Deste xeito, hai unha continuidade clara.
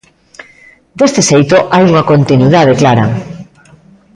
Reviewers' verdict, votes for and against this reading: rejected, 0, 2